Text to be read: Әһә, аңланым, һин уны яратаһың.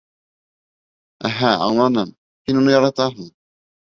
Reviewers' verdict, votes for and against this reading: accepted, 2, 0